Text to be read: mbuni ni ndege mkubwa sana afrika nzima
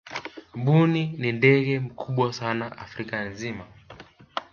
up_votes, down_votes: 2, 0